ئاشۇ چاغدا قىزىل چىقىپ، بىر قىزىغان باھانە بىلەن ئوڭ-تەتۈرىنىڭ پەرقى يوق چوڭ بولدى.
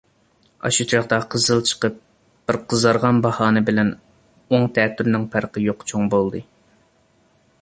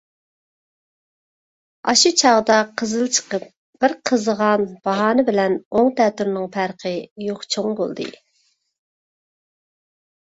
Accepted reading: second